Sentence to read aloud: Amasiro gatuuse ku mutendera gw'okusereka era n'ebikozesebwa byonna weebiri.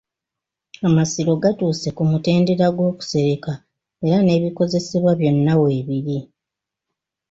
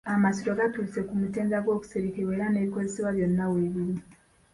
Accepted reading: first